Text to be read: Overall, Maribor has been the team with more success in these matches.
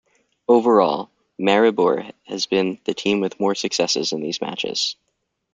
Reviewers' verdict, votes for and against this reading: rejected, 1, 2